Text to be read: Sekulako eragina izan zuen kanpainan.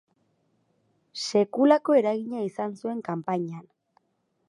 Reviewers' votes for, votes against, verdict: 4, 0, accepted